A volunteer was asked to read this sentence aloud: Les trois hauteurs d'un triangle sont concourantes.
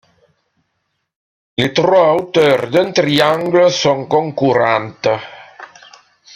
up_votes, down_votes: 1, 2